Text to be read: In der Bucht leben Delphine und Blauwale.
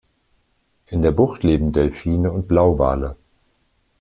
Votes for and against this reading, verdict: 2, 0, accepted